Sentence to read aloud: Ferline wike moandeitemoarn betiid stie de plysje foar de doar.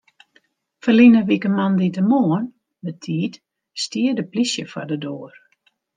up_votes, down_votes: 1, 2